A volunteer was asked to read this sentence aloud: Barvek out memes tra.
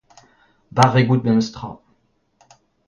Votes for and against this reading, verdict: 2, 1, accepted